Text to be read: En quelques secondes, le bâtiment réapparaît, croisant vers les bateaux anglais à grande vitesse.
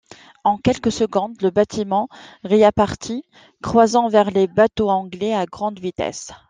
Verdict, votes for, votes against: rejected, 1, 2